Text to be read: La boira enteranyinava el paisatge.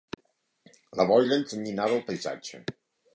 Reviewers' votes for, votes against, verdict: 1, 6, rejected